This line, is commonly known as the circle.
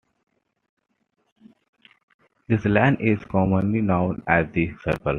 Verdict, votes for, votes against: accepted, 2, 1